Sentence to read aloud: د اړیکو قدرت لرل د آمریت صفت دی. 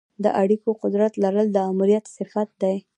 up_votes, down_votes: 2, 0